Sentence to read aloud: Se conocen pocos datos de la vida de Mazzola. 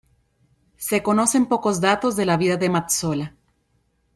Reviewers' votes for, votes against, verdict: 2, 0, accepted